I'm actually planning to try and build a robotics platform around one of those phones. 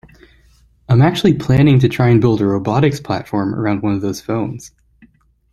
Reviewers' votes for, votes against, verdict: 2, 0, accepted